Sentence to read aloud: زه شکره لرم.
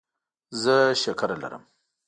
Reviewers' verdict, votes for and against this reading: rejected, 1, 2